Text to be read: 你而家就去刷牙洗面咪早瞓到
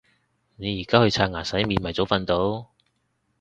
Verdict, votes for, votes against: rejected, 1, 2